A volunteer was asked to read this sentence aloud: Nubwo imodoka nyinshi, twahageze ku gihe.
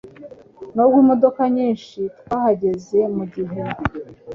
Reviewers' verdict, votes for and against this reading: accepted, 2, 0